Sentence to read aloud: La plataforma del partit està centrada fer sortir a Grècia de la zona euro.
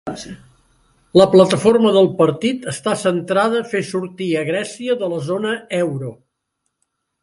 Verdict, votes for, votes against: accepted, 3, 1